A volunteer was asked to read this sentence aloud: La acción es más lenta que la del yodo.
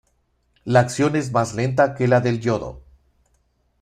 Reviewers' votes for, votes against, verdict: 2, 0, accepted